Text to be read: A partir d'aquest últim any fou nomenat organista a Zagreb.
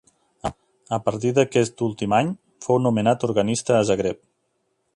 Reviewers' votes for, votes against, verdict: 0, 2, rejected